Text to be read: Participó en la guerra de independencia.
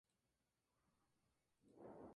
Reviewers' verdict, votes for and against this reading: rejected, 0, 2